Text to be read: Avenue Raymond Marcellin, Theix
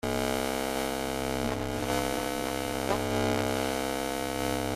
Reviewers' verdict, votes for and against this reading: rejected, 0, 2